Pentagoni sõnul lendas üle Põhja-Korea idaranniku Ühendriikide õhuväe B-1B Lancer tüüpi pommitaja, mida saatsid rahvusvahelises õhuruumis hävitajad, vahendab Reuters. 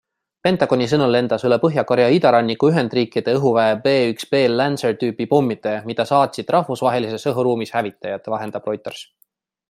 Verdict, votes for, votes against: rejected, 0, 2